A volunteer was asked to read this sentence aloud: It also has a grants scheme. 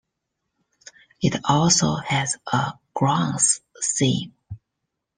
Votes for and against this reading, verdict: 0, 2, rejected